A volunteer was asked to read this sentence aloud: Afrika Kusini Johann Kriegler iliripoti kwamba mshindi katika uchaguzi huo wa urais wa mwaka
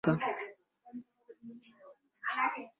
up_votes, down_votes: 2, 4